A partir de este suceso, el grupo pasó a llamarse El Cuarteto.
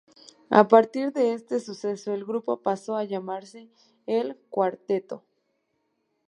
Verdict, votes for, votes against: accepted, 2, 0